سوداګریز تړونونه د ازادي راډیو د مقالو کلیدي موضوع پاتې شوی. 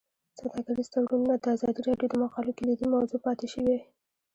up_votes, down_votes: 2, 0